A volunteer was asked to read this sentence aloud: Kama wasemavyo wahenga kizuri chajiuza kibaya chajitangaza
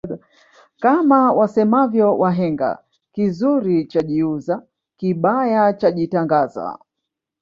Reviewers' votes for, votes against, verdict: 2, 0, accepted